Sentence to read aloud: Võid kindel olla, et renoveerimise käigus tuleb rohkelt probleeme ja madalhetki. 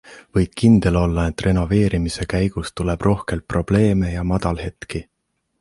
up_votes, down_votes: 2, 0